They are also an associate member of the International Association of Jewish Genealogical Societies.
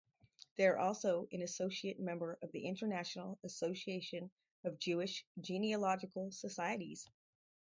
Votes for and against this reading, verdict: 4, 0, accepted